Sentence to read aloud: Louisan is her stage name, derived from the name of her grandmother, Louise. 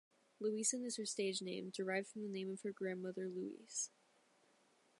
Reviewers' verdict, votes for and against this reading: accepted, 2, 0